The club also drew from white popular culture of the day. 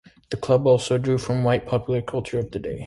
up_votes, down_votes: 2, 0